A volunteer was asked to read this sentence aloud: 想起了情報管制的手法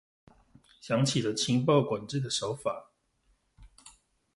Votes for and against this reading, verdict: 2, 0, accepted